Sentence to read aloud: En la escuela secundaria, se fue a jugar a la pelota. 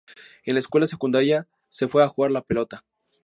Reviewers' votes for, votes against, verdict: 6, 0, accepted